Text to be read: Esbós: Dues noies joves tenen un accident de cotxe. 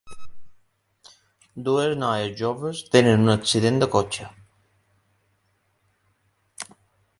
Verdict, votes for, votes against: rejected, 0, 2